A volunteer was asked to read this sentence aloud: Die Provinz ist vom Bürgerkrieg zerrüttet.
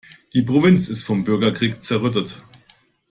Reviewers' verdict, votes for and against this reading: accepted, 2, 0